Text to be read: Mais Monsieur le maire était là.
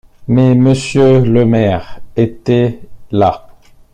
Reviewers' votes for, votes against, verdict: 2, 1, accepted